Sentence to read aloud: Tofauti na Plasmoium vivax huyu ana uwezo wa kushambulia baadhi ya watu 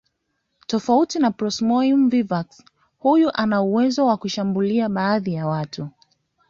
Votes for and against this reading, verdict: 2, 0, accepted